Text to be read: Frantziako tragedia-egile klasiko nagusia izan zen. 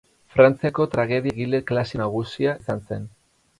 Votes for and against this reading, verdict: 2, 4, rejected